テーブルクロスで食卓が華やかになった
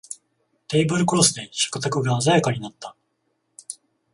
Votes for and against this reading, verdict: 0, 14, rejected